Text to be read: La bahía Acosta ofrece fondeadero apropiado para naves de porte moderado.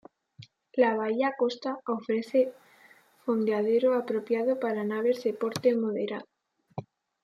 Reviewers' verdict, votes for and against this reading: rejected, 1, 2